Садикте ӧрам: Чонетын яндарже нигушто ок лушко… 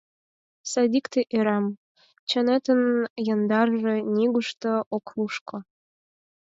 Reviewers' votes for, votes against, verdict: 4, 0, accepted